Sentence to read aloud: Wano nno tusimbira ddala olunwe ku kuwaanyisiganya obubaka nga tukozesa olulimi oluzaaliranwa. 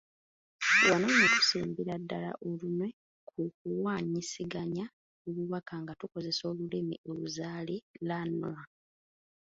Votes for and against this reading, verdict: 1, 2, rejected